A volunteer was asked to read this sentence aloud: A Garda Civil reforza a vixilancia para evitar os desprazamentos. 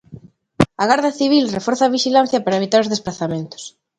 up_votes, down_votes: 2, 0